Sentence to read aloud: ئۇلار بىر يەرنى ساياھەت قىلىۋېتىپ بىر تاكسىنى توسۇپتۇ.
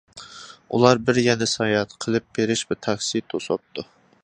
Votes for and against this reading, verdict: 0, 2, rejected